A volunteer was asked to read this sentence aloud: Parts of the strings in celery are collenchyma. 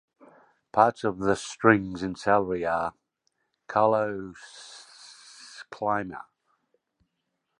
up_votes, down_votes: 1, 2